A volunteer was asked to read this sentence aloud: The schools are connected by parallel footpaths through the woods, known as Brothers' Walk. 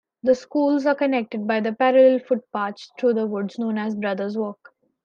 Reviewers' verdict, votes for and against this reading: rejected, 1, 2